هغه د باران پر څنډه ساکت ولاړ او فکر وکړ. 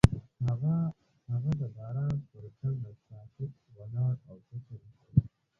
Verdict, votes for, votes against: rejected, 1, 2